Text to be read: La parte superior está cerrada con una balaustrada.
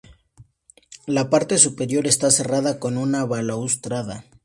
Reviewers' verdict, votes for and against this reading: accepted, 2, 0